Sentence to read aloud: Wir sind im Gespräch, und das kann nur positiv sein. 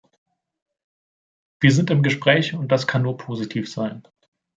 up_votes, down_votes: 2, 0